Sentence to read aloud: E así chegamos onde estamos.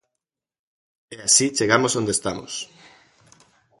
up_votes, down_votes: 2, 0